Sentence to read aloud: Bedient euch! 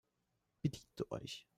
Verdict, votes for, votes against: rejected, 0, 2